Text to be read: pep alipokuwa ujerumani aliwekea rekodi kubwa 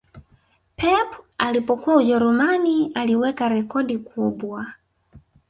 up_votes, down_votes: 2, 0